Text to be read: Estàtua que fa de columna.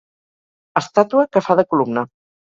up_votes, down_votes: 4, 0